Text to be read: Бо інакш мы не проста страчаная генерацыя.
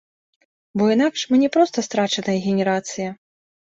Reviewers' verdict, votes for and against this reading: rejected, 1, 2